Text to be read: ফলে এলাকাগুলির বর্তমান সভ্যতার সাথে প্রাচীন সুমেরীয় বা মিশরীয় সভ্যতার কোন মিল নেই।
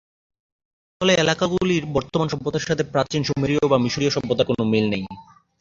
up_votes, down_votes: 4, 2